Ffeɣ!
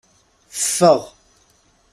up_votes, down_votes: 2, 0